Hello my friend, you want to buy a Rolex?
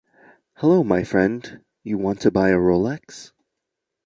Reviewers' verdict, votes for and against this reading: accepted, 2, 0